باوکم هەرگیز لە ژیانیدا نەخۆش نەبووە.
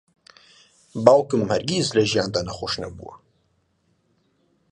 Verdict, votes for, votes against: rejected, 0, 2